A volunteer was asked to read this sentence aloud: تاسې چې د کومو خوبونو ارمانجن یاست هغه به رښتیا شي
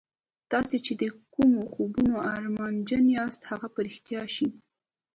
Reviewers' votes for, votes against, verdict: 2, 0, accepted